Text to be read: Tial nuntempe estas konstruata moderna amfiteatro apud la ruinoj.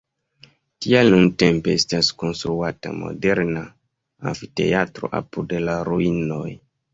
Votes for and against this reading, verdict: 1, 2, rejected